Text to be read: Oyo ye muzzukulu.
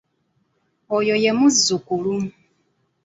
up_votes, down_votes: 3, 1